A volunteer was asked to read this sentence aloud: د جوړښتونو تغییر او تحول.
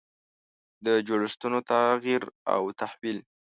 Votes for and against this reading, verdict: 1, 2, rejected